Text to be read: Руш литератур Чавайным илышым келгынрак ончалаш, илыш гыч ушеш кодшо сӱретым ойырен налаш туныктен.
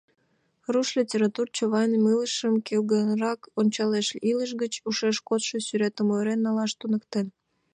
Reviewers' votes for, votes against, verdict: 1, 2, rejected